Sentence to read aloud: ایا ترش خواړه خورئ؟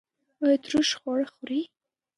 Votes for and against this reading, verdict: 0, 2, rejected